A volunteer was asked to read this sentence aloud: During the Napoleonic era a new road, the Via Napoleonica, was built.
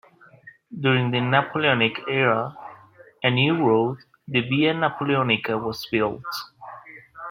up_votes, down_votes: 2, 0